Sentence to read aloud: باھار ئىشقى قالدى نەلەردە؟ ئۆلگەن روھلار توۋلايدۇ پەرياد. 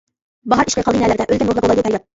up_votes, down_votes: 0, 2